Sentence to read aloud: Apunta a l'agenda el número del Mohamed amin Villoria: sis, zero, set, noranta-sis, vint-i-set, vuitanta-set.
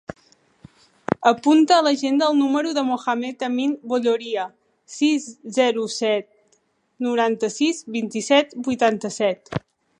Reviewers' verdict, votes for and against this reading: rejected, 1, 3